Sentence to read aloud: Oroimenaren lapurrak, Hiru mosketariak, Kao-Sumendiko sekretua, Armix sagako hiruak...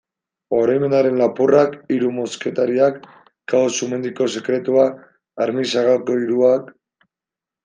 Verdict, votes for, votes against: accepted, 2, 0